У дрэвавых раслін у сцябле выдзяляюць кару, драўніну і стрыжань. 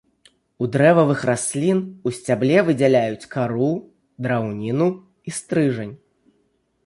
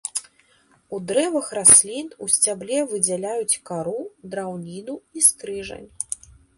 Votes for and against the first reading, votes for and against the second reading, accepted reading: 2, 0, 0, 2, first